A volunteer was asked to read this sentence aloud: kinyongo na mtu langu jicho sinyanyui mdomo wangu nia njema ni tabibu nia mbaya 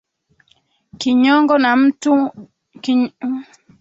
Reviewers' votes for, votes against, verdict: 0, 2, rejected